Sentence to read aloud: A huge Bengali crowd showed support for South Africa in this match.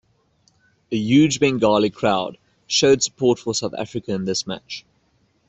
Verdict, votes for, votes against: accepted, 2, 0